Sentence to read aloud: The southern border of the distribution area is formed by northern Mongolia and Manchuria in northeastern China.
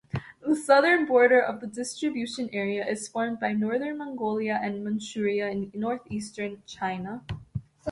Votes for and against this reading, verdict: 2, 0, accepted